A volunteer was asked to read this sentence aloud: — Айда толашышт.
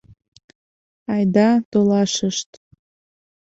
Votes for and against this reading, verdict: 2, 0, accepted